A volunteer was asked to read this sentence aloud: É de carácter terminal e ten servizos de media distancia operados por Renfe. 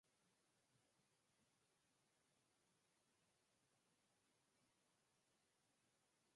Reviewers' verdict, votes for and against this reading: rejected, 0, 6